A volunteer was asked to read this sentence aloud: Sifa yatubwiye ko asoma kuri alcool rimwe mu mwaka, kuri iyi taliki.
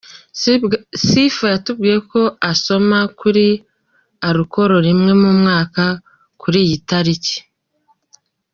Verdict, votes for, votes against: accepted, 2, 1